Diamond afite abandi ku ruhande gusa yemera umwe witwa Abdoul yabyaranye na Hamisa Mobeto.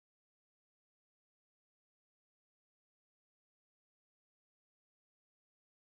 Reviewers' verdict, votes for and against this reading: rejected, 1, 4